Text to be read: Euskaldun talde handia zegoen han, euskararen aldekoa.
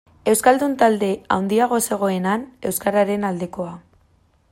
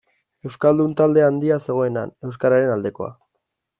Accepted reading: second